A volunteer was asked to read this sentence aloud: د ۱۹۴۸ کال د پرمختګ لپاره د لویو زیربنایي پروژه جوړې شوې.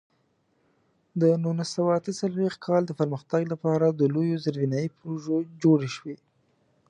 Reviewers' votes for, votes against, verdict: 0, 2, rejected